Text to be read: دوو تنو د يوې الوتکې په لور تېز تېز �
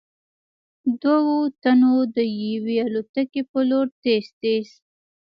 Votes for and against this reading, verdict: 1, 2, rejected